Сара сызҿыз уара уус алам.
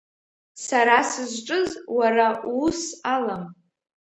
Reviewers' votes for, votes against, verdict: 0, 2, rejected